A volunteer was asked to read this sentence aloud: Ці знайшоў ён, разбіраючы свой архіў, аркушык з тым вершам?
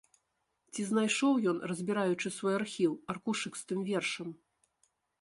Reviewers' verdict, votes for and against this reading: accepted, 2, 0